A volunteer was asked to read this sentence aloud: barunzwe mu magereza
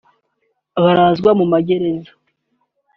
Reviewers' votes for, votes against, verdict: 1, 2, rejected